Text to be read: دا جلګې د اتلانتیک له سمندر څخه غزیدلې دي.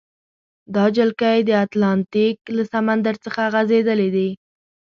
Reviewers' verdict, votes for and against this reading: rejected, 0, 2